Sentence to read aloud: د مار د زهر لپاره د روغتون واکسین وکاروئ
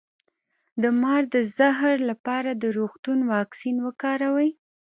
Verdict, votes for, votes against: rejected, 1, 2